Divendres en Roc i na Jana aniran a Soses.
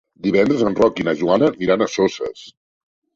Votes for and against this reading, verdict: 0, 2, rejected